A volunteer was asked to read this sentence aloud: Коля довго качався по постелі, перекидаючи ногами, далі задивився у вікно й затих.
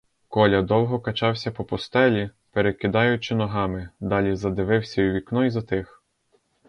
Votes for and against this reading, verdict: 2, 2, rejected